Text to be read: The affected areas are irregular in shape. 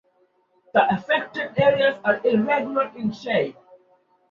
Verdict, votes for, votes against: accepted, 2, 0